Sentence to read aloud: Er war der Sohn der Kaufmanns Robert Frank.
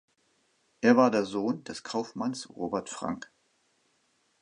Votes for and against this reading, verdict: 2, 0, accepted